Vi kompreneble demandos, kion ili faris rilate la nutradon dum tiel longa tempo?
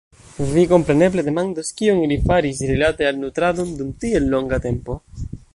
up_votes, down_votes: 1, 2